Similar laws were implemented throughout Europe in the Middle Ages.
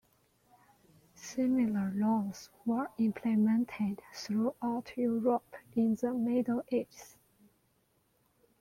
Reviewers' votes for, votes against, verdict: 1, 2, rejected